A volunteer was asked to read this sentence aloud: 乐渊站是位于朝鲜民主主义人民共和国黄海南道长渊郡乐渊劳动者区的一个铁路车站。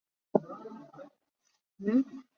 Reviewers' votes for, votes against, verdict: 1, 6, rejected